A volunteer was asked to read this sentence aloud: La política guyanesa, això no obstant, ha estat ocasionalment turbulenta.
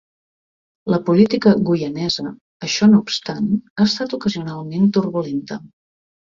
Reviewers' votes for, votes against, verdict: 2, 0, accepted